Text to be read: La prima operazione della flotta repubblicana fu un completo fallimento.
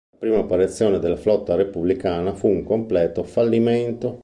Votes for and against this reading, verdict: 1, 2, rejected